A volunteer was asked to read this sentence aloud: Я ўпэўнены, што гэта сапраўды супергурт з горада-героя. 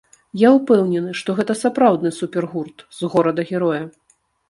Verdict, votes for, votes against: rejected, 0, 2